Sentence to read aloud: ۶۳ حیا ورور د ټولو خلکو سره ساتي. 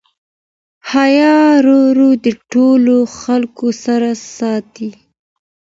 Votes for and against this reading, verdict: 0, 2, rejected